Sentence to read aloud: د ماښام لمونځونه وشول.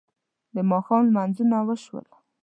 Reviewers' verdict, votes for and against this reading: accepted, 2, 0